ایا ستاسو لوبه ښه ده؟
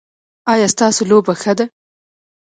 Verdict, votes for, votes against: rejected, 0, 2